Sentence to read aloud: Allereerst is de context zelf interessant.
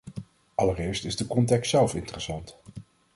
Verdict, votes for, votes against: accepted, 2, 0